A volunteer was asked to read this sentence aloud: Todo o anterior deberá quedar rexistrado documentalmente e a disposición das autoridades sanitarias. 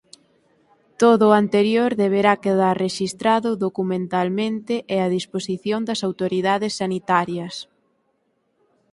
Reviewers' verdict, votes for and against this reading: accepted, 4, 0